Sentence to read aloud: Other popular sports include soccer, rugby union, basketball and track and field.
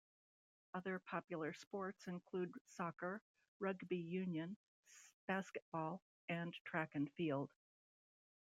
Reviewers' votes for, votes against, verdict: 1, 2, rejected